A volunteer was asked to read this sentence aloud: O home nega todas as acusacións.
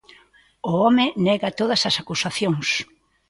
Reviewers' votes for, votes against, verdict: 2, 0, accepted